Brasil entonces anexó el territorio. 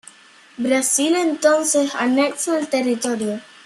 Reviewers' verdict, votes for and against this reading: rejected, 0, 2